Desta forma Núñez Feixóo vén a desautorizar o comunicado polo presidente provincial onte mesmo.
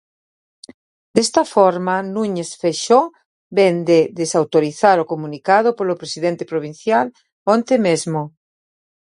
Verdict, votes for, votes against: rejected, 0, 2